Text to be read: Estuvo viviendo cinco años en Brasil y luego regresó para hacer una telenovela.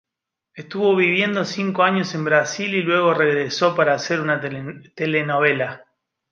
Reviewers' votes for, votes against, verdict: 0, 2, rejected